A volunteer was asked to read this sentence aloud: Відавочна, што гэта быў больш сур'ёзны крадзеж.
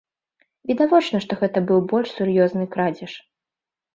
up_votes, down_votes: 2, 0